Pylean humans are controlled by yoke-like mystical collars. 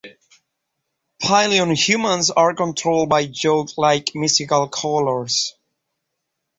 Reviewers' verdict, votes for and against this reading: accepted, 2, 0